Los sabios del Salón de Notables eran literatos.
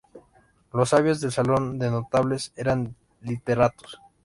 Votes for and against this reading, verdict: 2, 0, accepted